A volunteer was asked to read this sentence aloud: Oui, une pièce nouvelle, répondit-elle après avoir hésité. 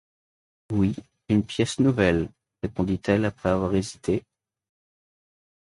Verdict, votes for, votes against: accepted, 2, 0